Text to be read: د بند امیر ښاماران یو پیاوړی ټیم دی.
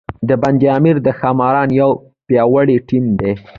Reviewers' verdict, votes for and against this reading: rejected, 1, 2